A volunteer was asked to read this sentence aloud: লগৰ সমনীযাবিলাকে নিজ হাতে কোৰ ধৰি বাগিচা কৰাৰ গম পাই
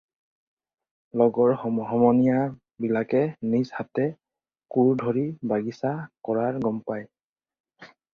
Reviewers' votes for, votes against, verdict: 0, 4, rejected